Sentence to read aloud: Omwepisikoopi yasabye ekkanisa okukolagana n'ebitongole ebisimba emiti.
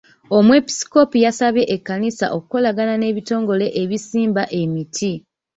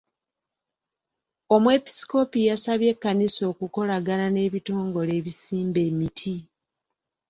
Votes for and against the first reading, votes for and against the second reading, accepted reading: 1, 2, 2, 0, second